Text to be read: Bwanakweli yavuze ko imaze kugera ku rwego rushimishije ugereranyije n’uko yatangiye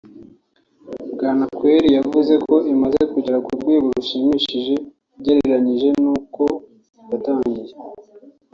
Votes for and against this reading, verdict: 3, 0, accepted